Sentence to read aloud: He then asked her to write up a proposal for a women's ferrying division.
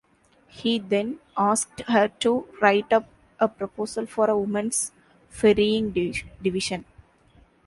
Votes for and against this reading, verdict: 0, 2, rejected